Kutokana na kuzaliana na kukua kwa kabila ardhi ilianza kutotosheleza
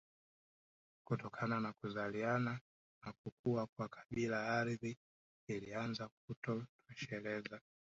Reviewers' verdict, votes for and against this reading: accepted, 3, 0